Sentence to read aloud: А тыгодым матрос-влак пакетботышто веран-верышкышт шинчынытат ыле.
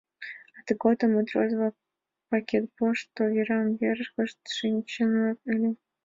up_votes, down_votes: 0, 2